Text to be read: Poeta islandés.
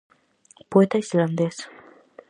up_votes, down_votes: 4, 0